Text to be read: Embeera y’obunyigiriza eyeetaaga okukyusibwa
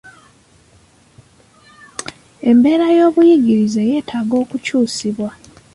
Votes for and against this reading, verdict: 4, 1, accepted